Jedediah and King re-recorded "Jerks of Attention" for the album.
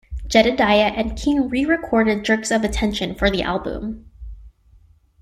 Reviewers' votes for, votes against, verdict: 2, 0, accepted